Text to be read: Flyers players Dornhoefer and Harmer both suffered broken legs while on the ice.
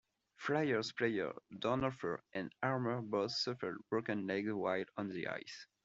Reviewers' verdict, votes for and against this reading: accepted, 2, 0